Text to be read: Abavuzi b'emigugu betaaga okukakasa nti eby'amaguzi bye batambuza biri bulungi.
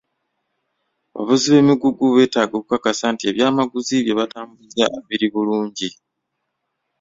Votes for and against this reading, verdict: 0, 2, rejected